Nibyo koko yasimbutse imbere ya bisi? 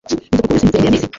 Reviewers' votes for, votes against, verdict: 0, 2, rejected